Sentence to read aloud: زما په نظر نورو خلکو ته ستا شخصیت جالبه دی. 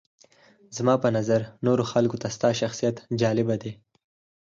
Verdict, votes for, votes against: rejected, 2, 4